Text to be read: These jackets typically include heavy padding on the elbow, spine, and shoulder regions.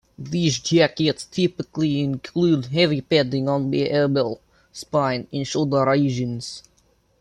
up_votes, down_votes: 0, 2